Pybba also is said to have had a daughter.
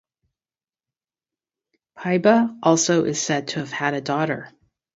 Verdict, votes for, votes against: accepted, 2, 0